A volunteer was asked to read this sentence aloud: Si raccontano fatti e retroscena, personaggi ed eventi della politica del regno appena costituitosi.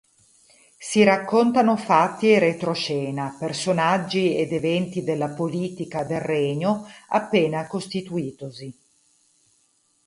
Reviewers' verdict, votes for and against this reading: accepted, 4, 0